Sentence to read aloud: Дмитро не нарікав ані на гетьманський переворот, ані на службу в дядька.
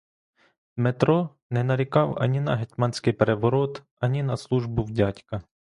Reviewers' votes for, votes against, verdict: 2, 0, accepted